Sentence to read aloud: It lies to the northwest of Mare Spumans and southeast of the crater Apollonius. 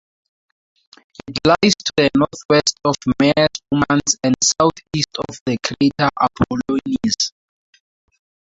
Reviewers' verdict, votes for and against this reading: accepted, 2, 0